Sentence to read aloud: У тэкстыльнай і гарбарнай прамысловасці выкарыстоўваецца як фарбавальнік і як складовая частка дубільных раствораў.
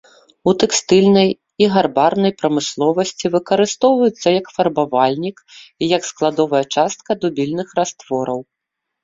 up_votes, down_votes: 2, 0